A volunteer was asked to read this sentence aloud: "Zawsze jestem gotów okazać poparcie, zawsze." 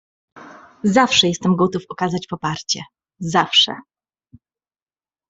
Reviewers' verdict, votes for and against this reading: accepted, 2, 0